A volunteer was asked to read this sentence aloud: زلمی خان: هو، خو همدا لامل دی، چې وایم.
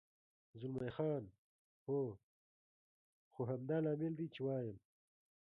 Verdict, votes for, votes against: accepted, 2, 1